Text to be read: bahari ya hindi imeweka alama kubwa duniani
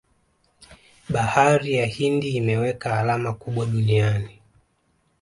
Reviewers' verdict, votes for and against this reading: accepted, 2, 0